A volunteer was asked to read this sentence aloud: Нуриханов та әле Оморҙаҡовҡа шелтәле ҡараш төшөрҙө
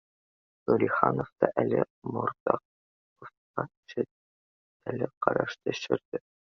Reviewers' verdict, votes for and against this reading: rejected, 0, 2